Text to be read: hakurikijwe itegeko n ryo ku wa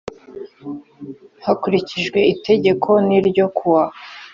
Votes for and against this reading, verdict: 2, 0, accepted